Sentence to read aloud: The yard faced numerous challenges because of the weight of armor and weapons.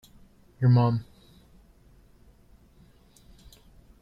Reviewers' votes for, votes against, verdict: 1, 2, rejected